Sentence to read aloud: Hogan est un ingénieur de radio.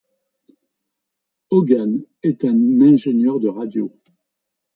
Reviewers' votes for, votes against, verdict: 1, 2, rejected